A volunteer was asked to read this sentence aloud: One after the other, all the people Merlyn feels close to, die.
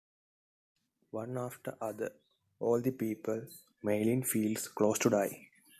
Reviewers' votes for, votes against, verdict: 2, 1, accepted